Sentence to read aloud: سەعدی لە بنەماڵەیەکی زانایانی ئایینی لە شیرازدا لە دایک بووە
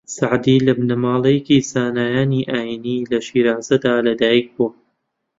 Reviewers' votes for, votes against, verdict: 1, 2, rejected